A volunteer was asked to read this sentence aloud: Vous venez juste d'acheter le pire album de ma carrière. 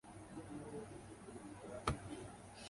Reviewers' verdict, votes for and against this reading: rejected, 0, 2